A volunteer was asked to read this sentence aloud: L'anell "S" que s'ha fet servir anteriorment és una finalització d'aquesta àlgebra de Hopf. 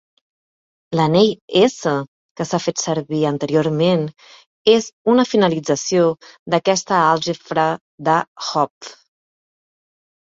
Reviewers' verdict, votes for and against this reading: rejected, 0, 2